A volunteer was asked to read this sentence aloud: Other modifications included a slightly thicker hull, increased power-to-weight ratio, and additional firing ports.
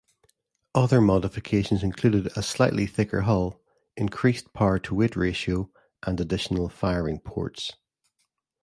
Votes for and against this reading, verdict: 2, 0, accepted